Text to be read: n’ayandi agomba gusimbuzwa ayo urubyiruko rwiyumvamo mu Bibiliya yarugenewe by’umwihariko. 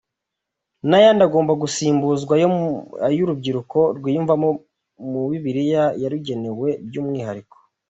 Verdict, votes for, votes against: accepted, 2, 1